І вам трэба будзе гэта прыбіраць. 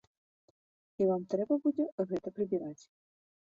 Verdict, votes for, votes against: rejected, 1, 2